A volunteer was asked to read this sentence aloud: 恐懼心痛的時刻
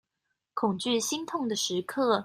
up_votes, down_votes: 3, 0